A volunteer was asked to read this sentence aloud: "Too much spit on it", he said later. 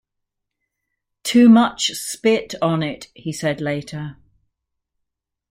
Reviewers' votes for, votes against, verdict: 1, 2, rejected